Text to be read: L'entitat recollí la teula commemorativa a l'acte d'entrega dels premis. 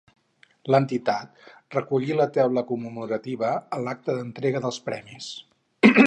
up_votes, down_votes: 2, 2